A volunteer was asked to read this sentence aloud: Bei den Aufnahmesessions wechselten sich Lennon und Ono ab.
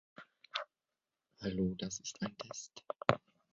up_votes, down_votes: 0, 2